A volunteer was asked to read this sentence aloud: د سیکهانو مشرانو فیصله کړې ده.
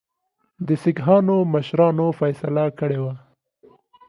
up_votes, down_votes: 2, 0